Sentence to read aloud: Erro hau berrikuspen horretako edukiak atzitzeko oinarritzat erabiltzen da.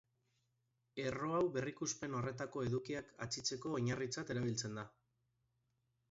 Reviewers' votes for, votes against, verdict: 3, 0, accepted